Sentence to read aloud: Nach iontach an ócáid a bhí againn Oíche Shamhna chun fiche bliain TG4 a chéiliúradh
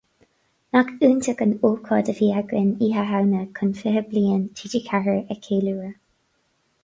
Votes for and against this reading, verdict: 0, 2, rejected